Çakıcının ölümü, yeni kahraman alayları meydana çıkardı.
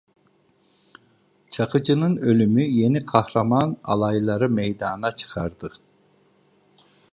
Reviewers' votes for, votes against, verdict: 2, 0, accepted